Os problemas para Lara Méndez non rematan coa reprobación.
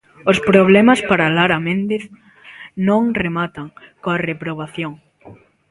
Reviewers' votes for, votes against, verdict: 2, 0, accepted